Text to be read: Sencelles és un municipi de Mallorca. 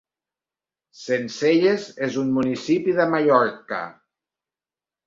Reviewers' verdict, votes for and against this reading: accepted, 2, 0